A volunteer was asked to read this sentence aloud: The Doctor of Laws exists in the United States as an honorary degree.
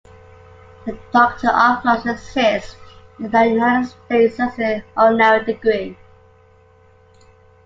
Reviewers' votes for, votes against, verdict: 2, 1, accepted